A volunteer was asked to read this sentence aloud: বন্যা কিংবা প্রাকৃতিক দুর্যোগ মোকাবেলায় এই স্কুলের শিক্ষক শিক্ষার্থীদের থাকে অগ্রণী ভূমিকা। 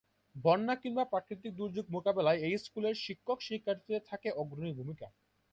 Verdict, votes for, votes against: accepted, 3, 0